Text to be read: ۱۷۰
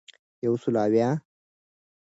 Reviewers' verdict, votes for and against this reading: rejected, 0, 2